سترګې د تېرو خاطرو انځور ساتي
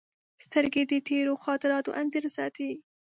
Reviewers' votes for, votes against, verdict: 0, 2, rejected